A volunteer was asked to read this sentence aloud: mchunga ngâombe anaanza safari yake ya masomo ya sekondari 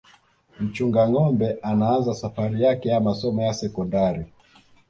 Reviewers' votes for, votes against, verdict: 2, 0, accepted